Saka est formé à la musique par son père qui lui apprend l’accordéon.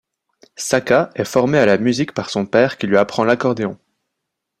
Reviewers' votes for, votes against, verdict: 2, 0, accepted